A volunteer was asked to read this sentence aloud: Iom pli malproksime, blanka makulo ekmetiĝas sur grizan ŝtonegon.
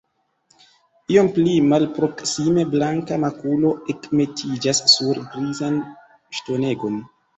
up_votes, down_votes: 3, 1